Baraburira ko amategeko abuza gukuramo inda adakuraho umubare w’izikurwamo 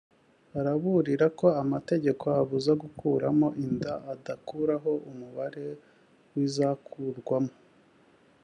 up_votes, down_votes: 0, 2